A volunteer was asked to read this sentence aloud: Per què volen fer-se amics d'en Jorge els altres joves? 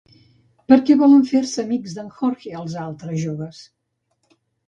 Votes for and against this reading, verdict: 1, 2, rejected